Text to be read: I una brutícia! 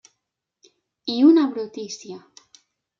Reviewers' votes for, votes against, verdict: 3, 0, accepted